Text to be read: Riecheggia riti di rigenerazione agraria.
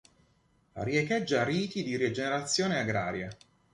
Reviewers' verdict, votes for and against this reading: accepted, 2, 0